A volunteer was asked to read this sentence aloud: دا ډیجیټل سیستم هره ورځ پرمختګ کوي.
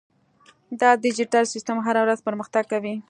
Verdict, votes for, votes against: accepted, 2, 0